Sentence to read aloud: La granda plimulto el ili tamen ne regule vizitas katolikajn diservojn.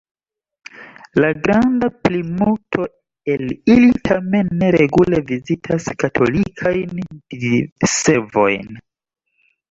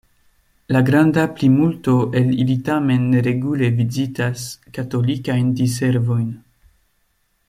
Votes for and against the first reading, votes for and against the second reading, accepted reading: 0, 2, 2, 0, second